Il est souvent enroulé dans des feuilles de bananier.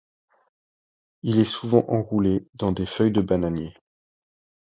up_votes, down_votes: 2, 0